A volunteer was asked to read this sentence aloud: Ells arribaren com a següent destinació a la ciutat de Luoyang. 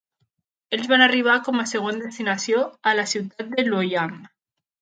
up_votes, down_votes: 0, 2